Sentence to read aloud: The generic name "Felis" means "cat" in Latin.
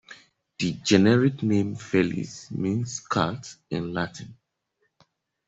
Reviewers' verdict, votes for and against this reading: rejected, 1, 2